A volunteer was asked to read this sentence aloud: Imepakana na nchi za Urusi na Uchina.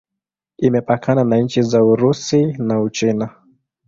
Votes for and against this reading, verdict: 2, 0, accepted